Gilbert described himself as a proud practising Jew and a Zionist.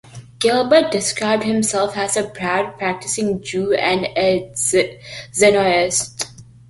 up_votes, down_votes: 1, 2